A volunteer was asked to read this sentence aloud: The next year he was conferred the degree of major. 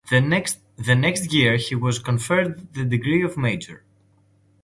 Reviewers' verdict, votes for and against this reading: rejected, 0, 2